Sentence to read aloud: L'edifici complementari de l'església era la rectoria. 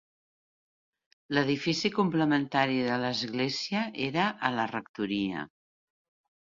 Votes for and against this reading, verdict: 1, 2, rejected